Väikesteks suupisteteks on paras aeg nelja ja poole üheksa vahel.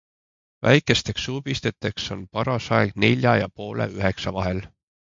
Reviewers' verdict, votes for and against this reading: accepted, 2, 0